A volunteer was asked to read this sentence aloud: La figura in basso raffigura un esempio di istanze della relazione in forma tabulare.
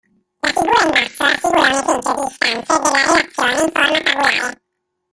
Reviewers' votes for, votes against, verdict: 1, 2, rejected